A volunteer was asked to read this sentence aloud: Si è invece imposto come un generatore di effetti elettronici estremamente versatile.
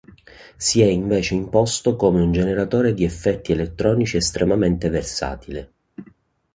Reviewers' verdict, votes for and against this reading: accepted, 2, 0